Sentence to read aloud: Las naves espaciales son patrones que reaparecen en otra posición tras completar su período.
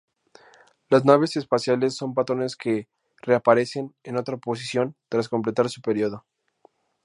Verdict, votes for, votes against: accepted, 4, 2